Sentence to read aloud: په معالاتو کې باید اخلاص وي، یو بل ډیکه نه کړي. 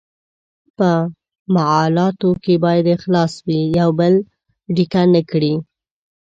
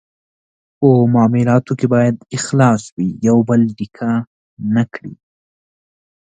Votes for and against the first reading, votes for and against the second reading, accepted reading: 1, 2, 2, 0, second